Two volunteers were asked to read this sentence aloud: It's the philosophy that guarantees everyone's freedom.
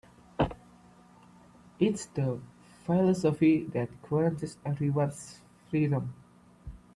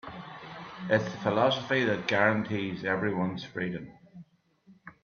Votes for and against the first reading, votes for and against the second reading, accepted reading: 2, 3, 2, 1, second